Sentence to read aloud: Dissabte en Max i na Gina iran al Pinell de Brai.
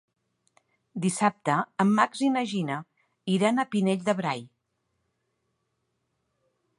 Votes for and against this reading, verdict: 0, 3, rejected